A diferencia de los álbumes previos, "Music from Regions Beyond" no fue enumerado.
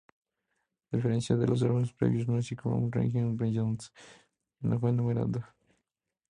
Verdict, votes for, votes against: rejected, 0, 2